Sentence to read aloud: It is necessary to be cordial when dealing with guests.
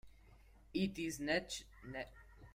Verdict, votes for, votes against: rejected, 0, 2